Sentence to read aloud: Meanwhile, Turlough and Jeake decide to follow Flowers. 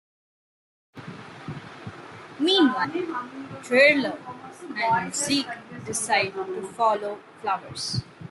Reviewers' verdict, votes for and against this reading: rejected, 1, 2